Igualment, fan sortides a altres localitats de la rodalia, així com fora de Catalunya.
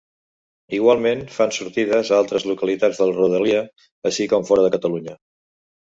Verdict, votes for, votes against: accepted, 2, 0